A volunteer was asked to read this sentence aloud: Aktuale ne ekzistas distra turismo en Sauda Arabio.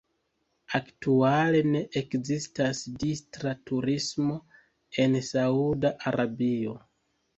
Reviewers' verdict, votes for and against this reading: rejected, 0, 2